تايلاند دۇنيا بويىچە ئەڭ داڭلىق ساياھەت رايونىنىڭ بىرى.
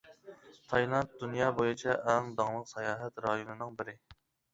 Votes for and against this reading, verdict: 2, 0, accepted